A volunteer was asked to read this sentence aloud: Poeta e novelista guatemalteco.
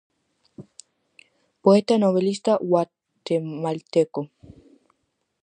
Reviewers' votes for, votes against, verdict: 0, 4, rejected